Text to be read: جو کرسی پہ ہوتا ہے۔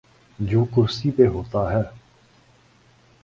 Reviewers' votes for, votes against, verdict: 2, 0, accepted